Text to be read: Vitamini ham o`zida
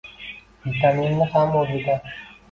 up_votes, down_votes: 0, 2